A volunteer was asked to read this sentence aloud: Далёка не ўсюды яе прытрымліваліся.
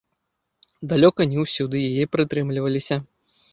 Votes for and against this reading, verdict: 2, 0, accepted